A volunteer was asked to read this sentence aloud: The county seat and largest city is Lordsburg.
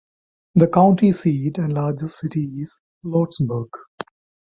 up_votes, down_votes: 2, 0